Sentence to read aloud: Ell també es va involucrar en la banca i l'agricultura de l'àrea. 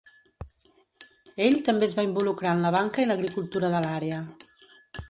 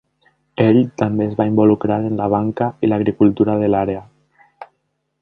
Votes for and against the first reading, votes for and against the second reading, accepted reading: 0, 2, 3, 0, second